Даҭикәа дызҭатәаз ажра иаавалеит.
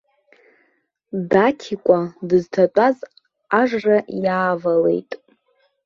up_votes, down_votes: 0, 2